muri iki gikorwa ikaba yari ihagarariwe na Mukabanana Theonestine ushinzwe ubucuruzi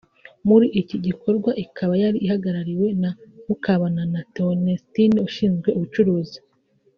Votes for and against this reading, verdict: 1, 2, rejected